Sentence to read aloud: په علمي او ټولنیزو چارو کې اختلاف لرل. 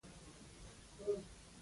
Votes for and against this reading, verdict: 0, 2, rejected